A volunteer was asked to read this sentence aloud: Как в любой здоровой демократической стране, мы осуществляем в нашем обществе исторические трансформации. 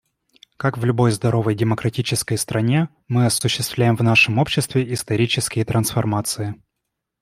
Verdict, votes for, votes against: accepted, 2, 0